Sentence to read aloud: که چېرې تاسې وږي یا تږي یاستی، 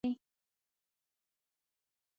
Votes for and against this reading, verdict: 1, 2, rejected